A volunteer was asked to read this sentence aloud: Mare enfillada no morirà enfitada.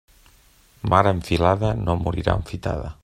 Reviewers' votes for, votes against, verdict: 1, 2, rejected